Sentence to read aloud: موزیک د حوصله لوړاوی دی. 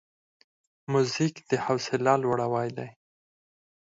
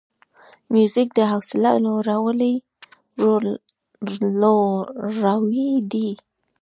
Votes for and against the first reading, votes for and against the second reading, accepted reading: 6, 0, 0, 2, first